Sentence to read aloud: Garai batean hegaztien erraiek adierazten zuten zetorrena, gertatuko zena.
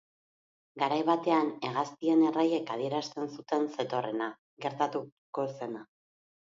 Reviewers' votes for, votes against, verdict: 2, 0, accepted